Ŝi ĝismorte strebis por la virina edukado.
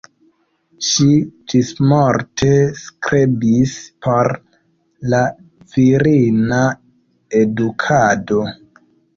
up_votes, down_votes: 0, 2